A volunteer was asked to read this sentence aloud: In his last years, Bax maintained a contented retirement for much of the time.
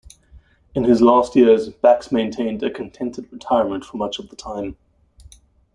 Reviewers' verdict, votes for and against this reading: accepted, 2, 1